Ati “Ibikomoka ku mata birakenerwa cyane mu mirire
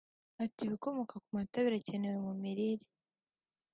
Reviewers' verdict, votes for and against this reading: accepted, 2, 0